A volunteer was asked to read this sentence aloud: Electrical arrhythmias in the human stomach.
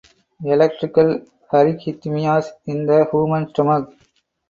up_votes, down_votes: 0, 4